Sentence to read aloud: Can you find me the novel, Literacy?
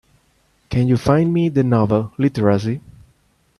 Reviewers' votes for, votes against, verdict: 2, 0, accepted